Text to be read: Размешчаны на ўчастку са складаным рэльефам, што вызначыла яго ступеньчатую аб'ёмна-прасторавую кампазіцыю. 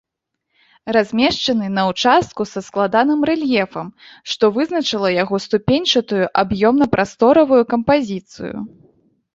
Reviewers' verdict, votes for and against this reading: rejected, 0, 2